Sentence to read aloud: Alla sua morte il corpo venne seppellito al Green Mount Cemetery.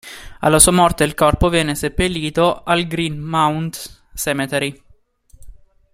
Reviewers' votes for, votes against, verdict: 2, 0, accepted